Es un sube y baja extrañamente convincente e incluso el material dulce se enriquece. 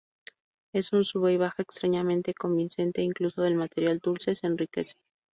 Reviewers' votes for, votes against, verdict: 2, 2, rejected